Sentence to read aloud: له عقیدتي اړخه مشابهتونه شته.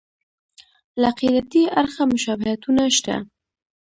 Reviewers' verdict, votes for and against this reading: rejected, 1, 2